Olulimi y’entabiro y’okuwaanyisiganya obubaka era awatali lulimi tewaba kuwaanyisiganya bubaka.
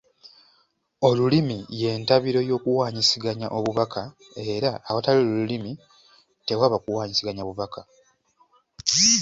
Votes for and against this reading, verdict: 2, 0, accepted